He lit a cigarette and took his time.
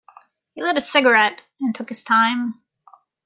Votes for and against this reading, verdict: 2, 1, accepted